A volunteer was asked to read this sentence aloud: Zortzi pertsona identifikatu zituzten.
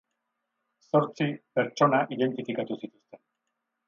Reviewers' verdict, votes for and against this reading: rejected, 2, 2